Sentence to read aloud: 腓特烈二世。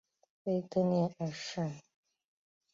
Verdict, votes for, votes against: accepted, 4, 0